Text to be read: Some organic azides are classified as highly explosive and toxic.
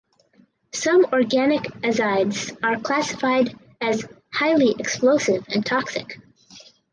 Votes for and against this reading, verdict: 4, 0, accepted